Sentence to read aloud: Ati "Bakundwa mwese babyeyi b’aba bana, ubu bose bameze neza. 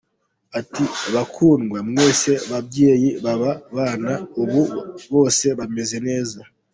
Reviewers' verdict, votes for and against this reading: accepted, 2, 0